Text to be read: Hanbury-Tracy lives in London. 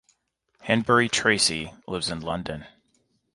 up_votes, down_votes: 2, 0